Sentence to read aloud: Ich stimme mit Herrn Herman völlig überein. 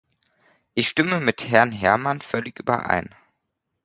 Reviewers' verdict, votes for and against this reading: accepted, 2, 0